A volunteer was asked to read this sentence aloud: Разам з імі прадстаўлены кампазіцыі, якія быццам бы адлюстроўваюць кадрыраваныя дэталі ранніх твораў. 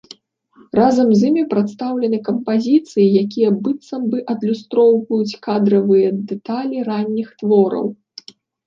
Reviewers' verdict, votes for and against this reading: rejected, 1, 2